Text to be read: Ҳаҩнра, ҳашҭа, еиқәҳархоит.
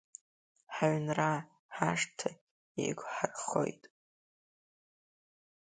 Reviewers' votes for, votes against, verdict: 2, 1, accepted